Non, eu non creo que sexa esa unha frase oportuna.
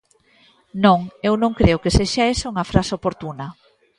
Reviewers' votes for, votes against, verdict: 2, 0, accepted